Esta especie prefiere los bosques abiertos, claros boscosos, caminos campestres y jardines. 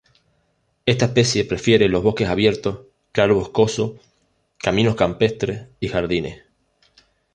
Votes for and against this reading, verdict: 0, 2, rejected